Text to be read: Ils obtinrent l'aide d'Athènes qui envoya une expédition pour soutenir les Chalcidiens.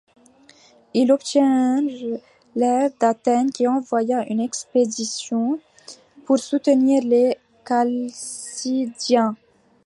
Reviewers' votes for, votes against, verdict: 1, 2, rejected